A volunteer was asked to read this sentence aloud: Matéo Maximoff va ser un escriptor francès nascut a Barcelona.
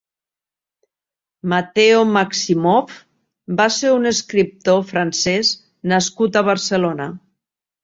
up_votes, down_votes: 2, 0